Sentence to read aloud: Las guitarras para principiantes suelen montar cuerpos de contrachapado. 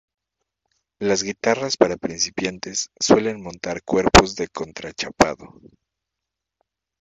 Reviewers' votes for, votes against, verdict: 2, 0, accepted